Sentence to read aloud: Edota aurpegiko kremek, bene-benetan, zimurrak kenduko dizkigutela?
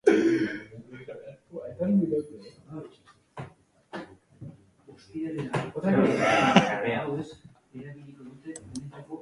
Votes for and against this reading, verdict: 0, 4, rejected